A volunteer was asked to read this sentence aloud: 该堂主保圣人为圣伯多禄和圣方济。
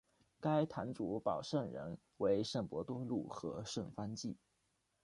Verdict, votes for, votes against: accepted, 2, 0